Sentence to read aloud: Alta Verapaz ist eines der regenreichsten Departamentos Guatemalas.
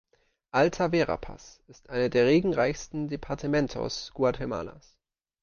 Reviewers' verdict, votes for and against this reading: rejected, 0, 2